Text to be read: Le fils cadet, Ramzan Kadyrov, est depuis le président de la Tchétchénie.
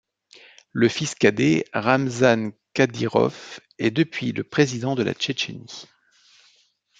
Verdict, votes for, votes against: accepted, 2, 0